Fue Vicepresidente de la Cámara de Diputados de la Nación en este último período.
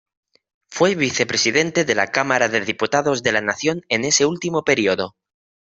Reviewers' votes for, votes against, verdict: 1, 2, rejected